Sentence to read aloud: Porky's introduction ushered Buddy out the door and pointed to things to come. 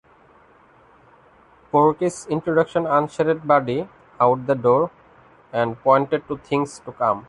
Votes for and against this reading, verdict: 0, 2, rejected